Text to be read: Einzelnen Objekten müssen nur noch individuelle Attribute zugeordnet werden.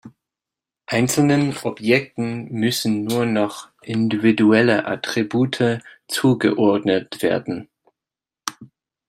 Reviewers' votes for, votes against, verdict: 2, 0, accepted